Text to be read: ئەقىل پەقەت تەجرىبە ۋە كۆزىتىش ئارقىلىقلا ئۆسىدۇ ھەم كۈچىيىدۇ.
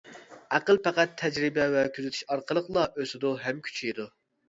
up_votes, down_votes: 2, 0